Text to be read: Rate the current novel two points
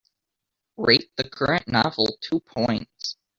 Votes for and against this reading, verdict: 2, 0, accepted